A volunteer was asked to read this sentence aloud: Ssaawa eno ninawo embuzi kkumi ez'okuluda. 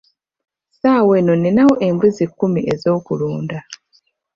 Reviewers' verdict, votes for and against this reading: accepted, 2, 0